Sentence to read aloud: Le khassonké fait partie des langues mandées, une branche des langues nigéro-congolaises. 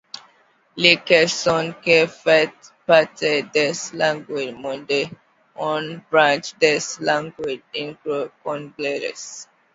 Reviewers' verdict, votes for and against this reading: accepted, 2, 1